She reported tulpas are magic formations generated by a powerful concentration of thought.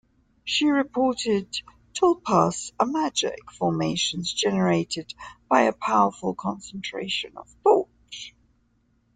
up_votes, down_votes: 2, 0